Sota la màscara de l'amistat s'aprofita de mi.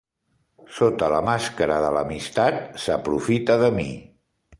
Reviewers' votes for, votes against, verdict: 2, 0, accepted